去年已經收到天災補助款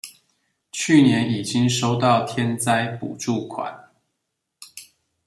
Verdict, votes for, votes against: accepted, 2, 0